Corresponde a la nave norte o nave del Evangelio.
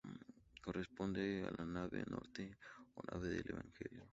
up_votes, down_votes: 2, 0